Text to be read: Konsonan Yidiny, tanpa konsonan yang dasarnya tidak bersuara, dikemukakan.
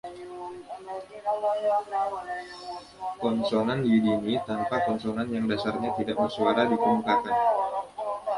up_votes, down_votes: 0, 2